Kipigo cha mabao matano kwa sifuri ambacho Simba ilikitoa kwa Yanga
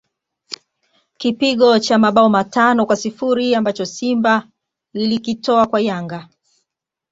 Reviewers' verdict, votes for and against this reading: accepted, 2, 0